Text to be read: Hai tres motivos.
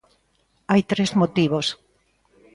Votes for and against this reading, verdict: 1, 2, rejected